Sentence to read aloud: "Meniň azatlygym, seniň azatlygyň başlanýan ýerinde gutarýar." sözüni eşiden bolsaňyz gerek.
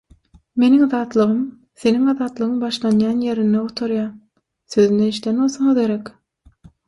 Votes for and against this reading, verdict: 6, 0, accepted